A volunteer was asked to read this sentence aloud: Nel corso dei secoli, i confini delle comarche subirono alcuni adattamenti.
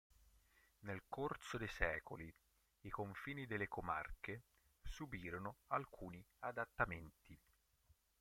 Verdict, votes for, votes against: accepted, 3, 1